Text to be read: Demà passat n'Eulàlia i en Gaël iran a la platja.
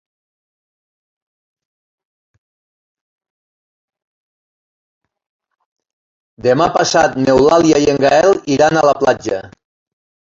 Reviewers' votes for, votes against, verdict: 1, 2, rejected